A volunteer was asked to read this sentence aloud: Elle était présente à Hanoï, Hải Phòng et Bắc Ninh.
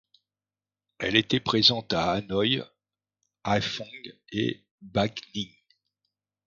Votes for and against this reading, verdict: 2, 0, accepted